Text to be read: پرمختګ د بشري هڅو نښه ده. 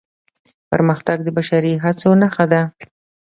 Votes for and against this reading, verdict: 2, 0, accepted